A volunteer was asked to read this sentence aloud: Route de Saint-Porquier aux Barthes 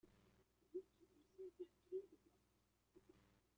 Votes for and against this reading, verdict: 0, 2, rejected